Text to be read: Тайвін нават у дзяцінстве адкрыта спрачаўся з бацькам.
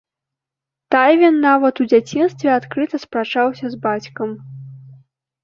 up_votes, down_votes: 2, 0